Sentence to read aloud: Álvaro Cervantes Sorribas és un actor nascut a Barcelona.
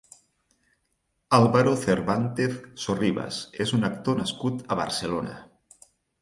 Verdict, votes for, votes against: rejected, 0, 4